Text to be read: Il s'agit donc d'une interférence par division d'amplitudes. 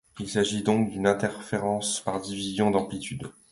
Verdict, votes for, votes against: accepted, 2, 0